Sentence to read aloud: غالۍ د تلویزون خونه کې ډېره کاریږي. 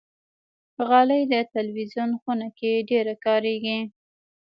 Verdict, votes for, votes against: accepted, 2, 0